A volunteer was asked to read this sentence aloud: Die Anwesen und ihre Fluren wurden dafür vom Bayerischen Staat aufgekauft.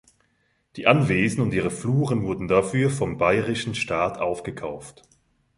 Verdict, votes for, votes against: accepted, 2, 0